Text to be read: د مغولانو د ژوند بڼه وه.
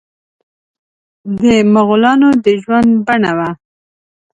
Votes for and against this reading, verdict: 3, 0, accepted